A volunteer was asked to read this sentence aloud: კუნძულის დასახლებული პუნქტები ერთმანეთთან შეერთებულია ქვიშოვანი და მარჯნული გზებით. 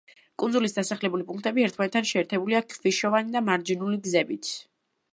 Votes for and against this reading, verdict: 0, 2, rejected